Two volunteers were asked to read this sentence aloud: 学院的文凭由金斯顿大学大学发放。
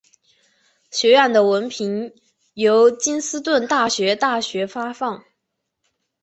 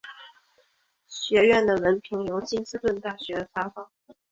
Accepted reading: first